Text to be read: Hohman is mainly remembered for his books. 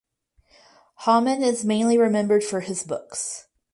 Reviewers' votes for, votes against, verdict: 4, 0, accepted